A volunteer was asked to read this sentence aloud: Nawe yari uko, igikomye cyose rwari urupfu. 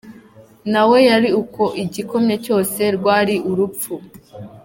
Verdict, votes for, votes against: accepted, 2, 0